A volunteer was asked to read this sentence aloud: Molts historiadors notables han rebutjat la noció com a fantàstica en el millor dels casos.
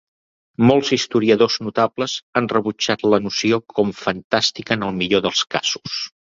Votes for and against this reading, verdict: 1, 2, rejected